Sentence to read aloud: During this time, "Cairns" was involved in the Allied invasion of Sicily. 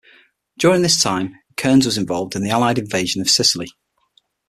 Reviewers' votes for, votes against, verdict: 6, 0, accepted